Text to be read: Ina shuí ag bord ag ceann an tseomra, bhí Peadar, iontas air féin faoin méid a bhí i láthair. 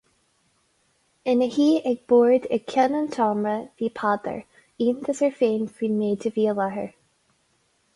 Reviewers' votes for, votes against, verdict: 4, 2, accepted